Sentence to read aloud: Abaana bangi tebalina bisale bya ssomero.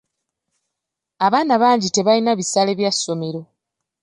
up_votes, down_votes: 2, 0